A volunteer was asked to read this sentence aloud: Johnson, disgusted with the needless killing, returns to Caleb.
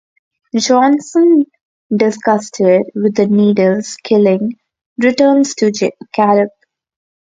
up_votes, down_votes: 2, 0